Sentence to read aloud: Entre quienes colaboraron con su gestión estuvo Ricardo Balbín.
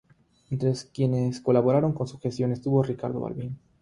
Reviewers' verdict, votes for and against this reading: accepted, 3, 0